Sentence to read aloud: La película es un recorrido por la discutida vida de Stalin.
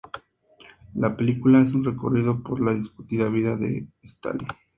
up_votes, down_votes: 2, 0